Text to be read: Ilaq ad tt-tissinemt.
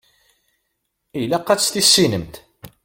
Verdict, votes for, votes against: accepted, 2, 0